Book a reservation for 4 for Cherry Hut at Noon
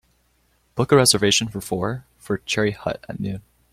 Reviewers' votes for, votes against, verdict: 0, 2, rejected